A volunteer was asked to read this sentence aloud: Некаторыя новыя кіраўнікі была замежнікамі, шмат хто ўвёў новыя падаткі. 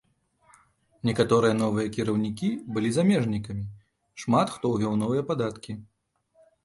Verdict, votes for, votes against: accepted, 2, 0